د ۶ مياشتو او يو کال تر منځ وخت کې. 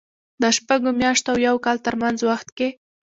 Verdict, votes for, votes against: rejected, 0, 2